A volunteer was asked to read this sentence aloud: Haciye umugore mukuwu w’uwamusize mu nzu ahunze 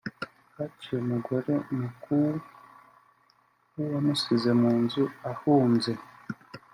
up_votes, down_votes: 2, 1